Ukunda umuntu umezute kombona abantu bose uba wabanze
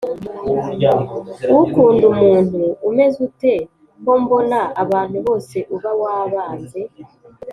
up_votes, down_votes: 3, 0